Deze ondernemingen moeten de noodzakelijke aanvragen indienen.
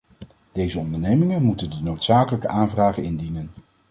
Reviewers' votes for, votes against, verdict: 2, 0, accepted